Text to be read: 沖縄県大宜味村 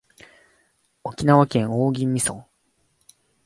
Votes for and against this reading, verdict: 2, 0, accepted